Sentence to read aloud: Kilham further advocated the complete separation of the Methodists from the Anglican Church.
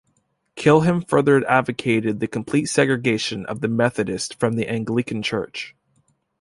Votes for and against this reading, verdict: 0, 2, rejected